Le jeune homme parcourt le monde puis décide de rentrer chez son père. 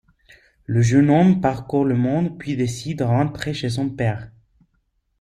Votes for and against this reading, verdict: 0, 2, rejected